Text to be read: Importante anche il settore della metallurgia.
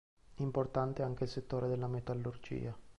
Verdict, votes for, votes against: accepted, 2, 0